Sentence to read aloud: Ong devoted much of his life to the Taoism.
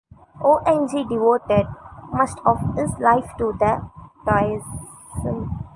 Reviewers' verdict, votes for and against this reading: rejected, 1, 3